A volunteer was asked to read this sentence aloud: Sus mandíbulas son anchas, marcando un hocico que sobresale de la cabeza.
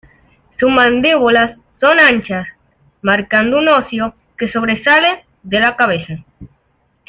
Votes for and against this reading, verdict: 0, 2, rejected